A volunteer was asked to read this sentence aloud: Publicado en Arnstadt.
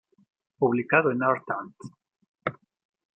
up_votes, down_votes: 0, 2